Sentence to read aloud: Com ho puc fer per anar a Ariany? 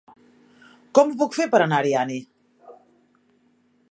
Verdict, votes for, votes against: accepted, 2, 1